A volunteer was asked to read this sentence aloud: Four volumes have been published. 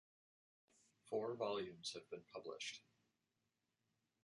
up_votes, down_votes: 2, 0